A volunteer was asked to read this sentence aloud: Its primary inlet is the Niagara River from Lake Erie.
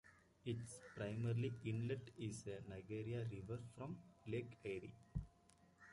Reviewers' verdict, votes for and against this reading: rejected, 0, 2